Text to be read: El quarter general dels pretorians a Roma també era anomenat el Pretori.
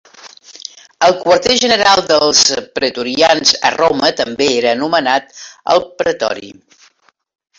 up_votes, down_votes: 2, 1